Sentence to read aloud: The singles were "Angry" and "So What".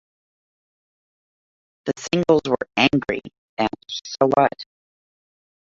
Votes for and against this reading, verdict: 0, 2, rejected